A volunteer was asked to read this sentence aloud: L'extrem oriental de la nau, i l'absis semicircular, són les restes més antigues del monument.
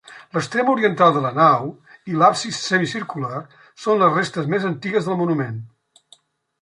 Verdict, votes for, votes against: accepted, 2, 0